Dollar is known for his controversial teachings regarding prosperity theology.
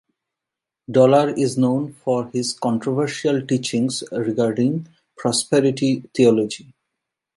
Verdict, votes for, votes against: accepted, 2, 0